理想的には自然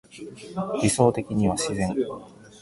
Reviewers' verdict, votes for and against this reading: accepted, 2, 0